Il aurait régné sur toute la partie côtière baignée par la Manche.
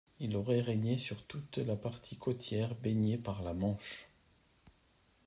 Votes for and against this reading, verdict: 2, 0, accepted